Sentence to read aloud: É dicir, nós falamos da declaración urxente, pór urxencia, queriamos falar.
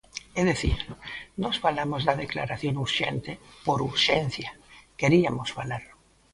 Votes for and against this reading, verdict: 0, 2, rejected